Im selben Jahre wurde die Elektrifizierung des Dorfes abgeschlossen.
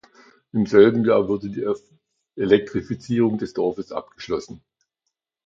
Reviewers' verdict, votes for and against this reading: rejected, 0, 2